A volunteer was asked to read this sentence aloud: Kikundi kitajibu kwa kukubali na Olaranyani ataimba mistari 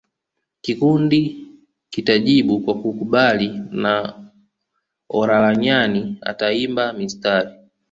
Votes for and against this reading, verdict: 2, 1, accepted